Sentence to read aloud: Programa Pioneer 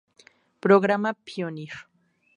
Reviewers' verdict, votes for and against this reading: rejected, 0, 2